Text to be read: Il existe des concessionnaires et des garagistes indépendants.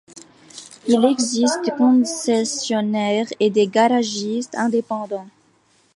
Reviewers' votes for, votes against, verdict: 0, 2, rejected